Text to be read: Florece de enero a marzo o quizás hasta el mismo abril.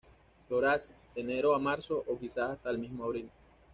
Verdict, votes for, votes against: rejected, 1, 2